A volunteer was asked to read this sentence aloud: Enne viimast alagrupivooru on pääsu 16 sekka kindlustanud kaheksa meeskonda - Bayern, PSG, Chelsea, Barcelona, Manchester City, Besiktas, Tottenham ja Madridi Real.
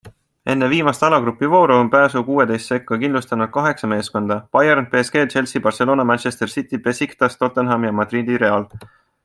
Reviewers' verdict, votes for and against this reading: rejected, 0, 2